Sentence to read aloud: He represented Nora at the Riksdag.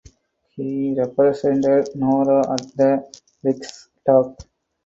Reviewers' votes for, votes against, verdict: 2, 0, accepted